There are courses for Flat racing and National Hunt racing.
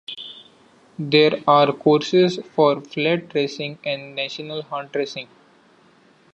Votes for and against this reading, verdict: 2, 0, accepted